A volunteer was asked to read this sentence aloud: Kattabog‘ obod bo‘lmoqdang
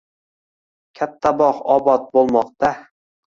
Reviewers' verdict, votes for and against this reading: rejected, 1, 2